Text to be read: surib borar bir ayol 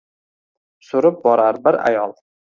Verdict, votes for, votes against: rejected, 1, 2